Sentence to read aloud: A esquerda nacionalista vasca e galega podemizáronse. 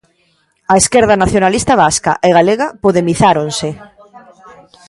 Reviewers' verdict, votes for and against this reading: rejected, 0, 2